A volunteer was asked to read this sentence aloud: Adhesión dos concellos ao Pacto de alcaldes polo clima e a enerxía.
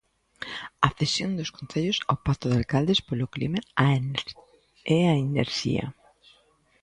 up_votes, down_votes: 0, 2